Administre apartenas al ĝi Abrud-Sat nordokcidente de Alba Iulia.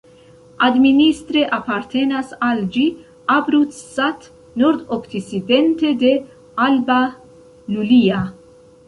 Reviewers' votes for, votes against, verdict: 1, 2, rejected